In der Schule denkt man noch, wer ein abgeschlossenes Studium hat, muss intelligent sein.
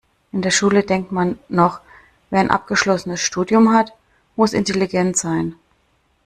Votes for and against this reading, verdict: 2, 0, accepted